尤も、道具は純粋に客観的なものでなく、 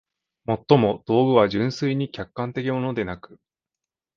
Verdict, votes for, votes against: rejected, 0, 2